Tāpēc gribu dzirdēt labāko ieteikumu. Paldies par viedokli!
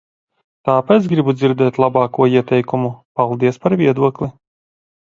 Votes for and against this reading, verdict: 2, 1, accepted